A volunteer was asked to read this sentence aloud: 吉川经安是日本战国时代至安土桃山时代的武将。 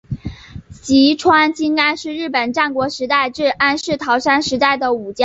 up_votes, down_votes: 4, 1